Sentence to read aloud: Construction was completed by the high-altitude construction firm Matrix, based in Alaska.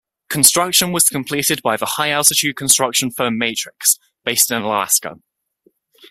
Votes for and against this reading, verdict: 2, 0, accepted